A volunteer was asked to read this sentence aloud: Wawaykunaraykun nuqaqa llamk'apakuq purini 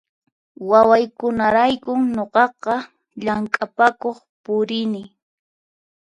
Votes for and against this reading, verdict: 4, 0, accepted